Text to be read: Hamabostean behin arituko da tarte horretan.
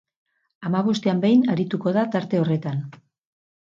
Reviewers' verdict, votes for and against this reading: accepted, 4, 0